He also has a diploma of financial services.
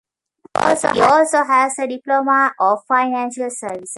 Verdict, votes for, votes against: rejected, 0, 2